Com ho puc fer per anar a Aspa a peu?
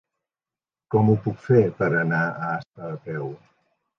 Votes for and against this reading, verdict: 0, 2, rejected